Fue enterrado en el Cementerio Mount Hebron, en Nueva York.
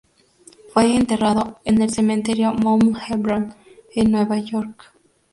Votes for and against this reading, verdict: 2, 0, accepted